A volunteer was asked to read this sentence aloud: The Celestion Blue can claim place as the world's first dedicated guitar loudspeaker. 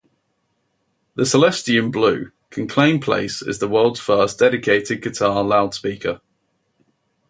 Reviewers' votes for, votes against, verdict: 0, 2, rejected